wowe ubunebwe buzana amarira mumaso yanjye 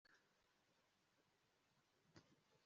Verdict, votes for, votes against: accepted, 2, 1